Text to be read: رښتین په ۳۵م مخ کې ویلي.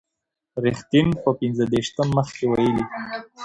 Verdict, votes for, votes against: rejected, 0, 2